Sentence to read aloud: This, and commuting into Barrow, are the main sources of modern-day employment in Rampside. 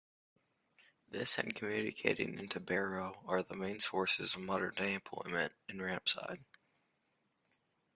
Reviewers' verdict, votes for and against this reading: rejected, 0, 2